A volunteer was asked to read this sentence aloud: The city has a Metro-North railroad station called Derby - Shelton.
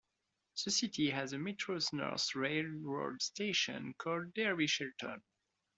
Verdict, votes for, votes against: rejected, 0, 2